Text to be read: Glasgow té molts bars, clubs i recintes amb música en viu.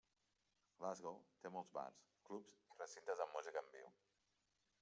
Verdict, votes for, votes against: rejected, 1, 2